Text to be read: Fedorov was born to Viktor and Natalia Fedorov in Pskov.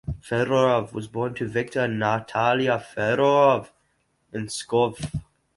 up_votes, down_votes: 2, 4